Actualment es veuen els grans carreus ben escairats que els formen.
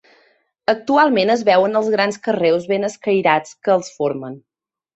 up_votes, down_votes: 2, 0